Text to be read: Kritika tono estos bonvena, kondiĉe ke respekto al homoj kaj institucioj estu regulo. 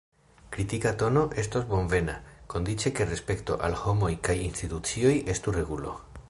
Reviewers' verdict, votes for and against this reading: accepted, 2, 0